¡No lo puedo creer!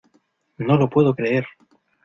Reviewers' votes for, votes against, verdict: 2, 0, accepted